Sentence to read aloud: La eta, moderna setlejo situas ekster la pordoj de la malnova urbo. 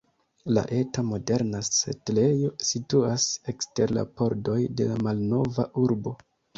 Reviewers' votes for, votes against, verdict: 2, 0, accepted